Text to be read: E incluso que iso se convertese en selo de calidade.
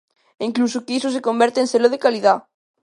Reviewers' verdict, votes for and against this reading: rejected, 0, 2